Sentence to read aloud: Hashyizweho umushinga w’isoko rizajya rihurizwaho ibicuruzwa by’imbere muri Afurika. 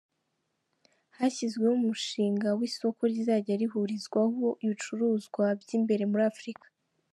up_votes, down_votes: 2, 0